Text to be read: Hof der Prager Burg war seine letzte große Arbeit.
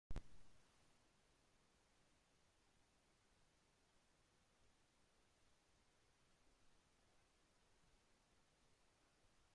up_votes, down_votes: 0, 2